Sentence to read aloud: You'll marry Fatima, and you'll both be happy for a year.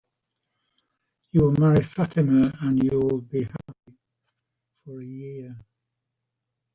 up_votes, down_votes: 0, 3